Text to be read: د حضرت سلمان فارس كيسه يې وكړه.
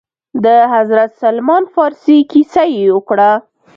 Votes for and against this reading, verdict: 2, 0, accepted